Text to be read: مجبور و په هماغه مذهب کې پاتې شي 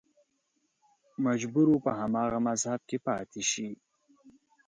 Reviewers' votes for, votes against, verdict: 3, 0, accepted